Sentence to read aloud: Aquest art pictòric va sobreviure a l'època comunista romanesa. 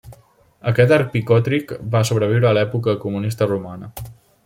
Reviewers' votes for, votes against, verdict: 0, 3, rejected